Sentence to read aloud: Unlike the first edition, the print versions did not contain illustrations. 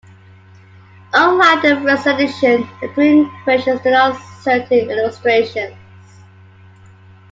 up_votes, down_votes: 0, 2